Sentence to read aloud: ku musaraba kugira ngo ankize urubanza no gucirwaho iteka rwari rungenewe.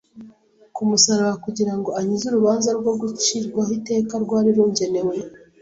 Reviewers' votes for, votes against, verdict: 2, 0, accepted